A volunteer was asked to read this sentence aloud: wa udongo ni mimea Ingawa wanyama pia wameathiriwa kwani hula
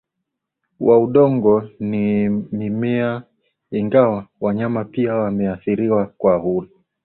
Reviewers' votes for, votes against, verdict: 0, 2, rejected